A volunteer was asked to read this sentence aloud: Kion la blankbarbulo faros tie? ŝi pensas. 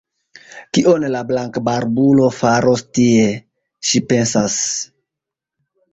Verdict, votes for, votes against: accepted, 3, 0